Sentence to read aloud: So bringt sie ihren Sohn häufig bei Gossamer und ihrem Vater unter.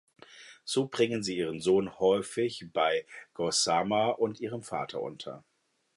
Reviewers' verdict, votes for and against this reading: rejected, 0, 2